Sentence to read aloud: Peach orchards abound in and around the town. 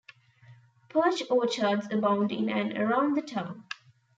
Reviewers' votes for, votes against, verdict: 0, 2, rejected